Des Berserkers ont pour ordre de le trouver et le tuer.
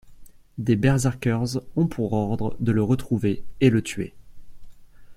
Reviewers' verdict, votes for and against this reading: rejected, 0, 2